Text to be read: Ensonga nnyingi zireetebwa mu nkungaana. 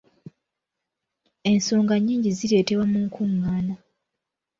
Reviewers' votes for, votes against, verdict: 2, 0, accepted